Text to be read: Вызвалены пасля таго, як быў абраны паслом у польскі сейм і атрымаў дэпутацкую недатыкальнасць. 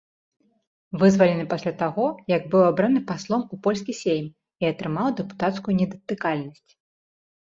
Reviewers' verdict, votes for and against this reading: accepted, 2, 0